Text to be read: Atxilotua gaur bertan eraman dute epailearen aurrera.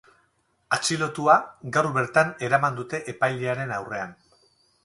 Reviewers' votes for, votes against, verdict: 2, 2, rejected